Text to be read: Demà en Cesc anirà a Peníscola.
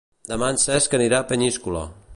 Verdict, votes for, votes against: rejected, 0, 2